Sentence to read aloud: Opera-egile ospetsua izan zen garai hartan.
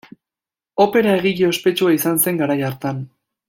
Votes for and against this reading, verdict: 2, 0, accepted